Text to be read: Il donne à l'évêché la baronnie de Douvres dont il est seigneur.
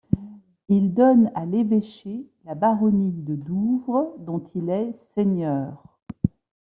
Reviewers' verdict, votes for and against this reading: accepted, 2, 0